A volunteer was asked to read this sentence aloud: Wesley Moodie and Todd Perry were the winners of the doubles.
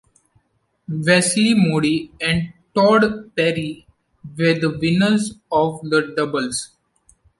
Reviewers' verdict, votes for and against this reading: accepted, 2, 0